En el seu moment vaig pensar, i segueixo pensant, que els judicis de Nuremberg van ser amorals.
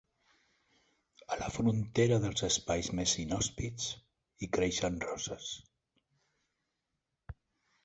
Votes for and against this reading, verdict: 0, 2, rejected